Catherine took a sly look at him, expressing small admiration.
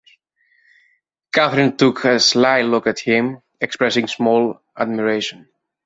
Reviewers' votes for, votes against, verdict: 2, 0, accepted